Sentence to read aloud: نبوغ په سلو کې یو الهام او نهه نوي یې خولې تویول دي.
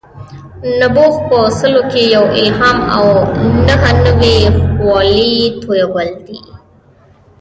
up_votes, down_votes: 2, 0